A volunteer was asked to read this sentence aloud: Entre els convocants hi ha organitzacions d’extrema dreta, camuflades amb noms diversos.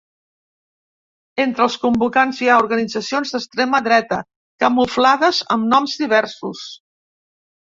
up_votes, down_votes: 3, 0